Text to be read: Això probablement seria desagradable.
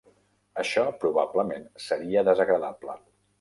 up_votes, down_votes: 3, 0